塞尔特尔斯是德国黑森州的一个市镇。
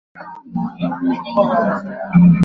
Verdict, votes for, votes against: rejected, 0, 2